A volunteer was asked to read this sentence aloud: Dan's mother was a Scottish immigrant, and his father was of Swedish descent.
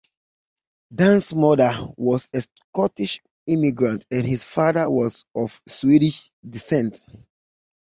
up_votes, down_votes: 2, 0